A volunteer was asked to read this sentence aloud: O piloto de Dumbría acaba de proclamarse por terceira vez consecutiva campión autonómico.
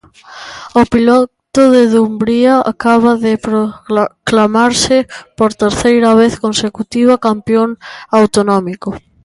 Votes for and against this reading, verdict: 0, 2, rejected